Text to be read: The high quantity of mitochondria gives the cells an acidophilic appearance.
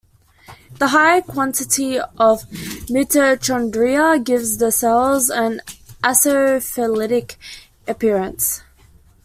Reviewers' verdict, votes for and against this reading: rejected, 0, 2